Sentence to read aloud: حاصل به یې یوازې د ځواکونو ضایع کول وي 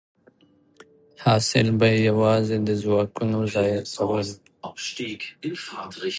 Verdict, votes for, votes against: accepted, 2, 0